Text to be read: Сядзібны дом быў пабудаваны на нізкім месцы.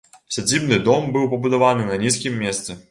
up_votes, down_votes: 2, 0